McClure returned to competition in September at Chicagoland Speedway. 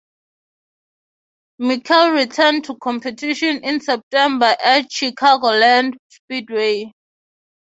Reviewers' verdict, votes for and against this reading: accepted, 3, 0